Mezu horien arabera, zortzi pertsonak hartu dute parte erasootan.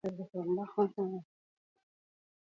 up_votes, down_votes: 0, 2